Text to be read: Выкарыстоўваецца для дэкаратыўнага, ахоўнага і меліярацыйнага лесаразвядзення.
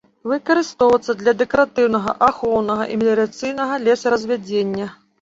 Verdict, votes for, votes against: accepted, 2, 0